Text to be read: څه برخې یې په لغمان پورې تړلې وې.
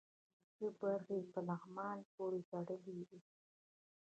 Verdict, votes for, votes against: accepted, 2, 1